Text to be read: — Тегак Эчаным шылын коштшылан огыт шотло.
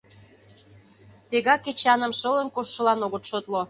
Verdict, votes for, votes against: accepted, 2, 0